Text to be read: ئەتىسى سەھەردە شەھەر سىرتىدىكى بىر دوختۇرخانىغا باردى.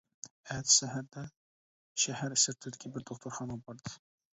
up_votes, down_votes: 0, 2